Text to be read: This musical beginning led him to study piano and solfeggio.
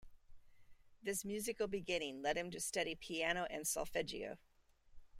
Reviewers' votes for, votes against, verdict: 2, 0, accepted